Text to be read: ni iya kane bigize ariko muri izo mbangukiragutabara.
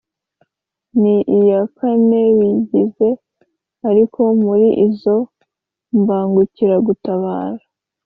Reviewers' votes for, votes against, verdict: 2, 0, accepted